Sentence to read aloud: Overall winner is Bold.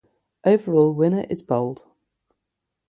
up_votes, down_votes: 0, 3